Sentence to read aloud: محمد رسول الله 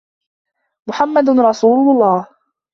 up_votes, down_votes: 2, 0